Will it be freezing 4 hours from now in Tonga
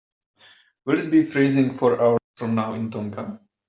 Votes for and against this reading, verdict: 0, 2, rejected